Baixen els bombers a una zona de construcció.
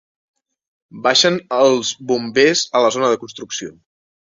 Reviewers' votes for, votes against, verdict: 0, 2, rejected